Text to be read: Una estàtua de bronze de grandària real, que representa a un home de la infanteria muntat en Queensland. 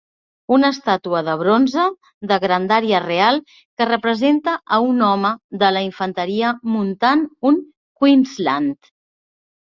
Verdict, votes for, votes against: rejected, 0, 2